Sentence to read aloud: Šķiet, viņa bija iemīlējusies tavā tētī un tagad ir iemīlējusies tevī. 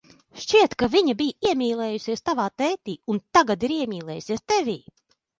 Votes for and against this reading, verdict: 0, 2, rejected